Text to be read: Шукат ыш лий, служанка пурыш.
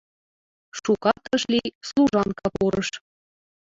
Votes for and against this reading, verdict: 0, 4, rejected